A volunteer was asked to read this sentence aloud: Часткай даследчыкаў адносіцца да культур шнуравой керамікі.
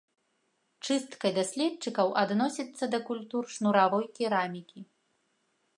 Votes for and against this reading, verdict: 1, 2, rejected